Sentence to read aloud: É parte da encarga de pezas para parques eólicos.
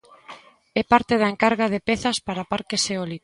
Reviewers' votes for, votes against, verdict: 1, 2, rejected